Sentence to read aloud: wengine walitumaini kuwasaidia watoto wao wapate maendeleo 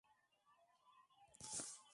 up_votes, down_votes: 0, 3